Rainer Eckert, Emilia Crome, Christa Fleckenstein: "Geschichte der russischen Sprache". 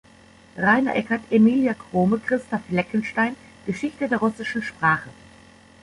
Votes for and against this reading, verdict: 2, 0, accepted